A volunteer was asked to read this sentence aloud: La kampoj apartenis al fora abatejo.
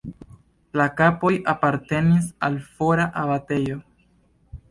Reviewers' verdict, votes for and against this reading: accepted, 2, 0